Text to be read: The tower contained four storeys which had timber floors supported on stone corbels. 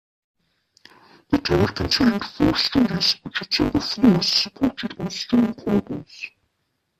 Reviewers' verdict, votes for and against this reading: rejected, 0, 2